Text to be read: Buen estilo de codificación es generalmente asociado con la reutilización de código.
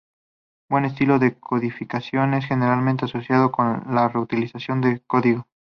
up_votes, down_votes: 2, 0